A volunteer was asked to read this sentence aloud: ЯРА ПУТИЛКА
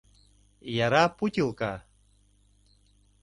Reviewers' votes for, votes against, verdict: 2, 0, accepted